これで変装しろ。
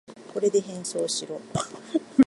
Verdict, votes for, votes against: accepted, 2, 0